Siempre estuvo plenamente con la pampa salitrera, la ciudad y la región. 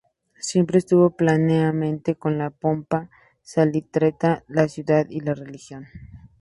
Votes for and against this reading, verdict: 0, 2, rejected